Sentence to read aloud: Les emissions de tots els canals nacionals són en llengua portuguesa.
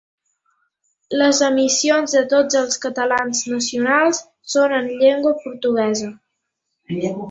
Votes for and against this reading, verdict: 0, 2, rejected